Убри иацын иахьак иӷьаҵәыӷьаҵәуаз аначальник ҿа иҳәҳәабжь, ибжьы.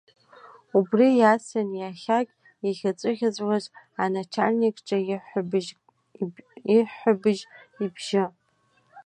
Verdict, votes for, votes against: rejected, 0, 2